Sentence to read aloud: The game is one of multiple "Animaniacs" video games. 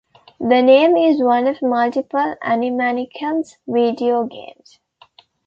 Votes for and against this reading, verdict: 0, 2, rejected